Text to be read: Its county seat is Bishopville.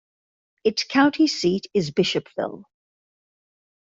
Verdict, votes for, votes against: accepted, 2, 0